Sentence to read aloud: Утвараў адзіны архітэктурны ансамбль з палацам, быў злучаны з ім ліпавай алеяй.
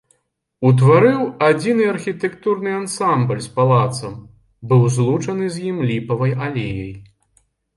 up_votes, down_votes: 2, 1